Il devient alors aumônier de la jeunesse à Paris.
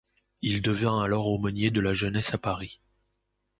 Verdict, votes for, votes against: accepted, 2, 0